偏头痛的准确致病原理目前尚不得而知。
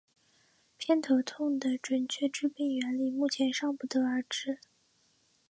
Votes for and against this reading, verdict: 2, 1, accepted